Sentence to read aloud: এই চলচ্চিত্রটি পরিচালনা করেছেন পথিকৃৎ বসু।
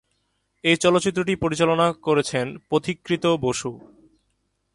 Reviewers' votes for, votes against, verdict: 2, 1, accepted